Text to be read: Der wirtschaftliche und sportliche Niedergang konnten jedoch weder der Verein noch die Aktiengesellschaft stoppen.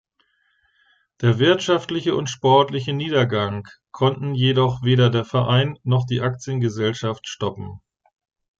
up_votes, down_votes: 2, 0